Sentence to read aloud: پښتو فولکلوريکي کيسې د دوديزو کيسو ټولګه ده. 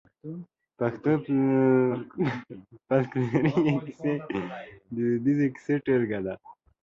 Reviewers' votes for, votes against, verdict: 0, 4, rejected